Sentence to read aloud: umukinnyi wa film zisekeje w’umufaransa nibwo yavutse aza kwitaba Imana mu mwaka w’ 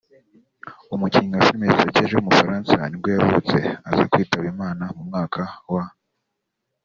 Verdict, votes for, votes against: accepted, 3, 0